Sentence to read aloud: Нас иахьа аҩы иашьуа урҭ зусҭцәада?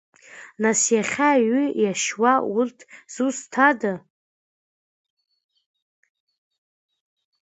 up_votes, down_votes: 0, 2